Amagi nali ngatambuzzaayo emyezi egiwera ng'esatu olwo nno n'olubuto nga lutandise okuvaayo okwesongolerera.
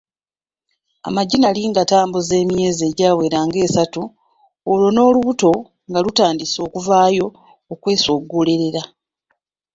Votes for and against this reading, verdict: 1, 2, rejected